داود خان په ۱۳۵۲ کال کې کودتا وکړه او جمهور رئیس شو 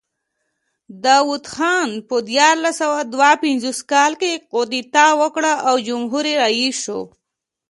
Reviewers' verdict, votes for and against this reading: rejected, 0, 2